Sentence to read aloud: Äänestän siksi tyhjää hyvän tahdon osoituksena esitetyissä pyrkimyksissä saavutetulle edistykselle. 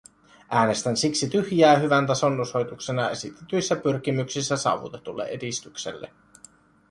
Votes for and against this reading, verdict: 1, 2, rejected